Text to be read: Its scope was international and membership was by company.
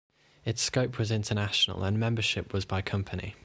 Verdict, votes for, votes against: rejected, 1, 2